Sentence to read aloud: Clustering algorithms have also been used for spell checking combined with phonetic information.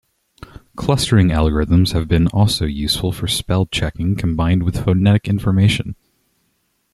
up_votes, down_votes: 1, 2